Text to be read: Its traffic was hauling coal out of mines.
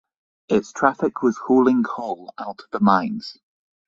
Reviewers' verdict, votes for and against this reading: rejected, 0, 3